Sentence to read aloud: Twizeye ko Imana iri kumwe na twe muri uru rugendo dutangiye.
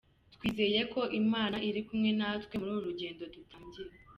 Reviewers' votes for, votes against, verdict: 2, 0, accepted